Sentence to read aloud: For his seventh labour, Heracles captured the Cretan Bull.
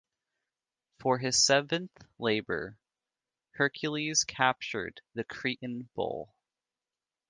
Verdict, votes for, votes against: rejected, 1, 2